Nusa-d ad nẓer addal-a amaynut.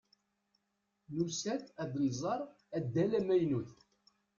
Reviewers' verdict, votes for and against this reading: rejected, 1, 2